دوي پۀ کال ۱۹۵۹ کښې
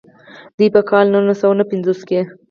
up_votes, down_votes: 0, 2